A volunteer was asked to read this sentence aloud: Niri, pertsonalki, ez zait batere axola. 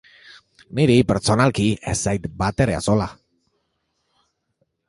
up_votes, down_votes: 0, 2